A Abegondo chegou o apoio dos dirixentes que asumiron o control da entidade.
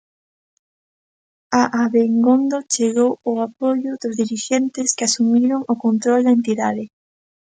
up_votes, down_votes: 0, 2